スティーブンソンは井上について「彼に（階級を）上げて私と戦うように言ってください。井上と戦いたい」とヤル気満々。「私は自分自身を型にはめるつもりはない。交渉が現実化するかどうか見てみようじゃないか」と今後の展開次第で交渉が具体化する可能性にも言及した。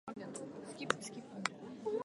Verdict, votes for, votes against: rejected, 0, 2